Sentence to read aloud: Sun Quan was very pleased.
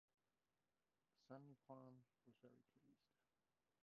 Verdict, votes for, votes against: rejected, 0, 2